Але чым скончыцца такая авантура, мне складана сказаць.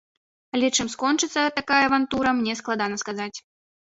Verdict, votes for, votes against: accepted, 2, 0